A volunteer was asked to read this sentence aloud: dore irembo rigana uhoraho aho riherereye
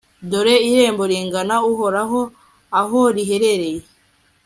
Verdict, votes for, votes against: accepted, 2, 0